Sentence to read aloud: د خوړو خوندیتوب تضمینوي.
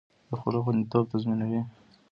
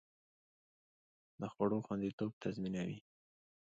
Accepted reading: second